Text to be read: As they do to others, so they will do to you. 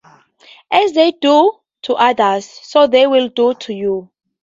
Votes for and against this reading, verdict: 4, 0, accepted